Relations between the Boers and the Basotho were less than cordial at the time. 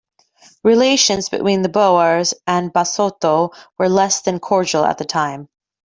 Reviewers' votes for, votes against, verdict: 1, 2, rejected